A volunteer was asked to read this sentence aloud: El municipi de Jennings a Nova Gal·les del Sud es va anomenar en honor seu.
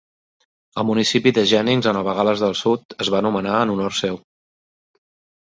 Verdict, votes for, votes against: accepted, 2, 0